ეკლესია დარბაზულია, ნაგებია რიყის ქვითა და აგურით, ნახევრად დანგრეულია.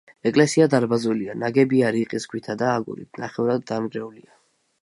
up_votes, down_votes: 2, 0